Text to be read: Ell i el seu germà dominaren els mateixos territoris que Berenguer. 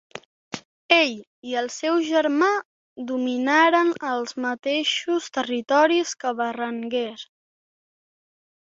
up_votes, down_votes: 2, 0